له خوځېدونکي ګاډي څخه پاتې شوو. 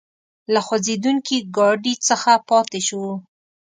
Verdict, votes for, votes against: accepted, 2, 0